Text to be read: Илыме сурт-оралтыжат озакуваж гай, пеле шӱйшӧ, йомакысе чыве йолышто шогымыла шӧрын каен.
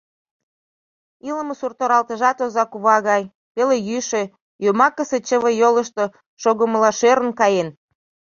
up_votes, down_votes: 1, 2